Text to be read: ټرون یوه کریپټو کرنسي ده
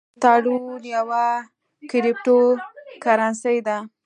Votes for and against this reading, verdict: 2, 0, accepted